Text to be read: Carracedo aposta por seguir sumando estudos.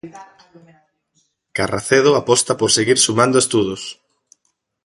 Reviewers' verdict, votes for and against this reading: accepted, 2, 0